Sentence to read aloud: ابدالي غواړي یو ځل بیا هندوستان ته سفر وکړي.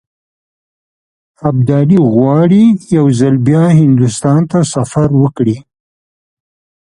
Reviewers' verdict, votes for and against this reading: accepted, 2, 0